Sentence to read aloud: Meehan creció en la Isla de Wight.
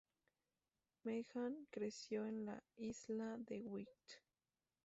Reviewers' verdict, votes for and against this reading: rejected, 0, 2